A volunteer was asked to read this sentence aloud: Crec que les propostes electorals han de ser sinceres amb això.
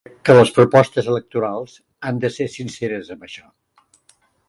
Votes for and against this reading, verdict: 0, 2, rejected